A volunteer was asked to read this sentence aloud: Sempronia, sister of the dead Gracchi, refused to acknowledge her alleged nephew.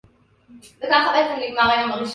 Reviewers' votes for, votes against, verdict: 0, 2, rejected